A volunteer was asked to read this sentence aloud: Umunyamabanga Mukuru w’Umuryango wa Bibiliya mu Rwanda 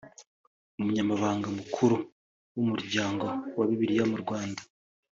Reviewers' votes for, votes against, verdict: 2, 0, accepted